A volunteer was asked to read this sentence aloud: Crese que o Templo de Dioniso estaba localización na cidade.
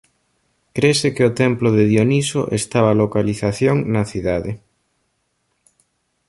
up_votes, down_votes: 2, 0